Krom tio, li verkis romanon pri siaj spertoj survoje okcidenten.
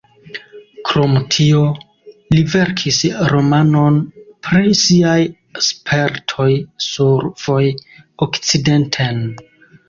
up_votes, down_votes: 0, 2